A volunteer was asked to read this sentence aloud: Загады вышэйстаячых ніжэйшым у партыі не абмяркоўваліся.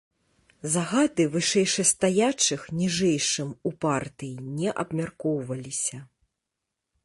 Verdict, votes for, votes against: rejected, 0, 2